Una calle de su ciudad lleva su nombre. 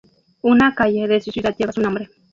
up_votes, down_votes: 0, 2